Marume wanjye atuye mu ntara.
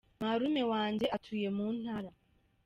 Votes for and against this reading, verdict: 2, 0, accepted